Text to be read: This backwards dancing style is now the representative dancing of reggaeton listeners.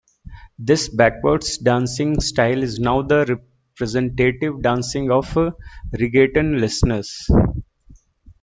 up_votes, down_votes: 2, 1